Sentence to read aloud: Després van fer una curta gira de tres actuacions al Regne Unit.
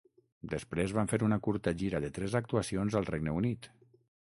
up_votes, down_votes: 6, 0